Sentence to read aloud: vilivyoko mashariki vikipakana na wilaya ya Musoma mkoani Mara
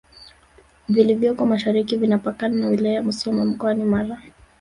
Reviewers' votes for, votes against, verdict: 6, 0, accepted